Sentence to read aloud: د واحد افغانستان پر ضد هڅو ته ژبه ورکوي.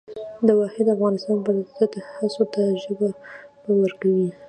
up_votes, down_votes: 2, 0